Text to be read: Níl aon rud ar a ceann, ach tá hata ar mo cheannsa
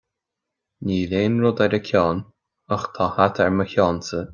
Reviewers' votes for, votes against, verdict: 2, 0, accepted